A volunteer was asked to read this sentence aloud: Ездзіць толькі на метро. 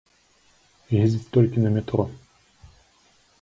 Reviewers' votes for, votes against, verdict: 2, 0, accepted